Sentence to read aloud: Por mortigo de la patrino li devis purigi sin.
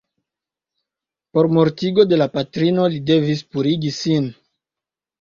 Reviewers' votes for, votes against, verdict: 2, 0, accepted